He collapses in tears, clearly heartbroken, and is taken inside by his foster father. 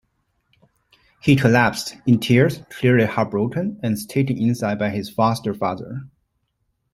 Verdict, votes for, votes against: rejected, 0, 2